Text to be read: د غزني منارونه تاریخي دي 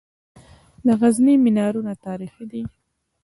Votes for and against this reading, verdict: 2, 0, accepted